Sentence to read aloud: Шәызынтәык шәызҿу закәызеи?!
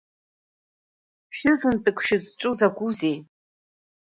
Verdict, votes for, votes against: accepted, 2, 0